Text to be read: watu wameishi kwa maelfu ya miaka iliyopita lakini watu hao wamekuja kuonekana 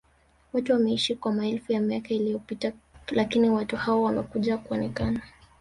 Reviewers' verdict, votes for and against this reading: accepted, 2, 1